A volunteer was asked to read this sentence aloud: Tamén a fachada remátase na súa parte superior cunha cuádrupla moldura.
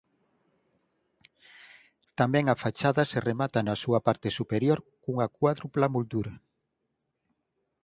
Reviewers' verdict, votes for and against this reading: rejected, 2, 4